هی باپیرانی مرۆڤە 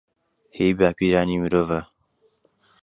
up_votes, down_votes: 2, 0